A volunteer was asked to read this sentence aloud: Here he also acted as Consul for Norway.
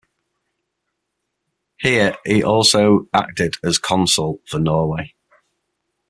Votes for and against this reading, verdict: 6, 0, accepted